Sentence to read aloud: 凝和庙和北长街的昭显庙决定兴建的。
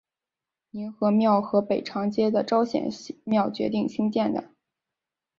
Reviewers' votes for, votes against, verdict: 3, 0, accepted